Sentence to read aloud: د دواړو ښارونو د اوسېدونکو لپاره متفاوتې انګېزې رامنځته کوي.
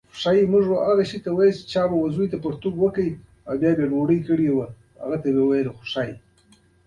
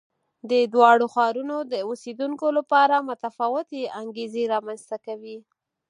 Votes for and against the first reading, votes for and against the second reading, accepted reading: 0, 2, 4, 0, second